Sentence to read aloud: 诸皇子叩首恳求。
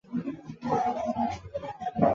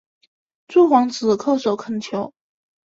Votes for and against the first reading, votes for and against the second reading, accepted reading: 0, 2, 6, 0, second